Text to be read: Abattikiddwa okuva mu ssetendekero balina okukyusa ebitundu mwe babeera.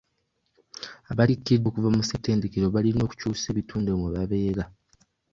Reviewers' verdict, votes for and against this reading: rejected, 1, 2